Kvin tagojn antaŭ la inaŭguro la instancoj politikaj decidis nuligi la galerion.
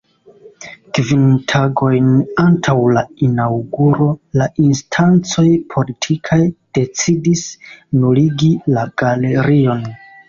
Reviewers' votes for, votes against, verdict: 2, 0, accepted